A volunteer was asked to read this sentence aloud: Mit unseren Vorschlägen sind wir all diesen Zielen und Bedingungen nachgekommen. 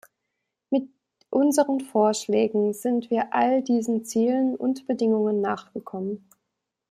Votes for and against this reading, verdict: 2, 0, accepted